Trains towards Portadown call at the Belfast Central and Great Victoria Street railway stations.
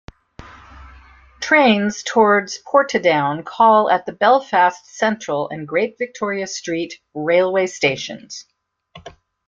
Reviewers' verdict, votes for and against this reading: accepted, 2, 0